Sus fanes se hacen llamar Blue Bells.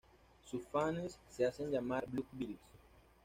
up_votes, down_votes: 2, 1